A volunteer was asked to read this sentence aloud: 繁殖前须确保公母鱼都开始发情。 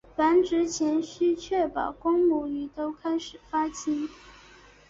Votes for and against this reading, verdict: 2, 0, accepted